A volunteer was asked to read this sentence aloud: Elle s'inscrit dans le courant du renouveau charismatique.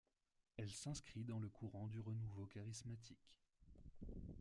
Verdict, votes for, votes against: accepted, 2, 1